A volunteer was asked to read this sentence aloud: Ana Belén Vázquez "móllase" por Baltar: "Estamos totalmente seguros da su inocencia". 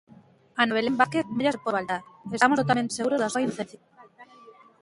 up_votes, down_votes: 0, 2